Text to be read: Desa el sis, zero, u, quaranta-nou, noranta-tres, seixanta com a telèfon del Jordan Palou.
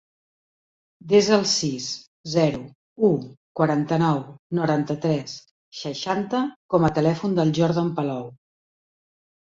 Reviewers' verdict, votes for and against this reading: accepted, 3, 0